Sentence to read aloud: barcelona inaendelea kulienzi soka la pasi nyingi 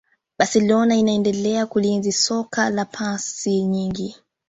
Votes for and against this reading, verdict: 2, 0, accepted